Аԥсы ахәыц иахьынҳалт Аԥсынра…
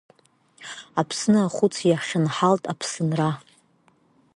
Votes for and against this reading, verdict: 1, 2, rejected